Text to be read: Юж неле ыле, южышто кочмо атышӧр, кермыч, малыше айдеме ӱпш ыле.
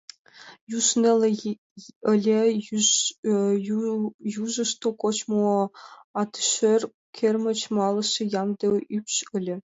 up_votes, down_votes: 0, 2